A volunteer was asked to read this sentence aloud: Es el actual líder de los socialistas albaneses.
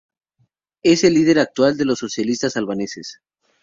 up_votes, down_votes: 0, 2